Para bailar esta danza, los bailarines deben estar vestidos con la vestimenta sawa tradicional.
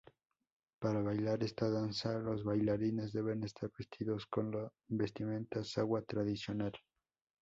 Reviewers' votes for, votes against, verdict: 2, 2, rejected